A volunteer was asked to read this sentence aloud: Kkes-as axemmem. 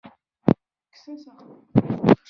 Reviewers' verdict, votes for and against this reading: rejected, 1, 2